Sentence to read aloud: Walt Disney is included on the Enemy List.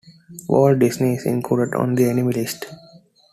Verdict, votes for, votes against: accepted, 3, 0